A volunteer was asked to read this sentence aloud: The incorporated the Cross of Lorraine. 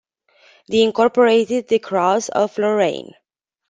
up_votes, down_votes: 2, 0